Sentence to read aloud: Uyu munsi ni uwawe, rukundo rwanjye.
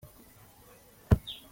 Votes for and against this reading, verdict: 0, 3, rejected